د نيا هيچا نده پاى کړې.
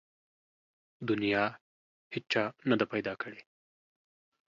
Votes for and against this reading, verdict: 1, 2, rejected